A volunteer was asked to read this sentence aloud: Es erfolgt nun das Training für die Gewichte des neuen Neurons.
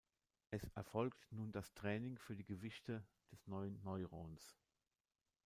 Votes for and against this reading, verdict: 2, 0, accepted